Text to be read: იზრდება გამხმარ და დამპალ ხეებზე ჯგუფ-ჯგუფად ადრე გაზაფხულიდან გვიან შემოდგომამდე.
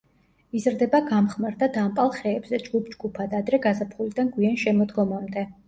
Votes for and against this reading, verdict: 2, 0, accepted